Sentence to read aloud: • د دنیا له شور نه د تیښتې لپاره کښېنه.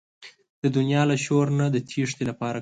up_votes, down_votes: 1, 2